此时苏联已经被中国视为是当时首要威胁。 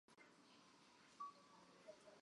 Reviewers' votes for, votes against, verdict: 0, 3, rejected